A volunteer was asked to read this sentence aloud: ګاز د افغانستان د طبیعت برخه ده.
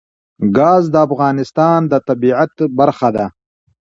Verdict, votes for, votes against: rejected, 0, 2